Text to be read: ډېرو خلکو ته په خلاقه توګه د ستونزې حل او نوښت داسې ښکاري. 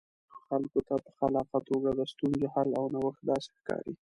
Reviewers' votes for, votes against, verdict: 2, 0, accepted